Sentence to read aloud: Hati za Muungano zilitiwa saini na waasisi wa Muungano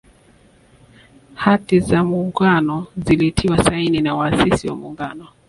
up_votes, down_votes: 2, 0